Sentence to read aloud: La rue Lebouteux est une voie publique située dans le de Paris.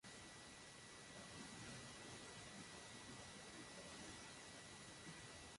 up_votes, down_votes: 0, 2